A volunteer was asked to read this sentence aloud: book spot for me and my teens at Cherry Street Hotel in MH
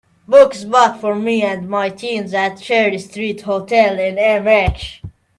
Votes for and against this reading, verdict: 2, 1, accepted